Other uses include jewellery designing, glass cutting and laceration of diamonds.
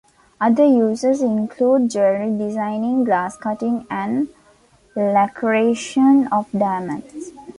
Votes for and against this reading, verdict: 0, 2, rejected